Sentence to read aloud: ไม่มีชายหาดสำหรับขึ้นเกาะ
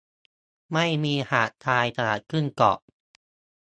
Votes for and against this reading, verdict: 0, 2, rejected